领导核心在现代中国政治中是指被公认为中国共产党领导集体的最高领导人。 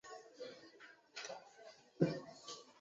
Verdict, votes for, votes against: rejected, 1, 7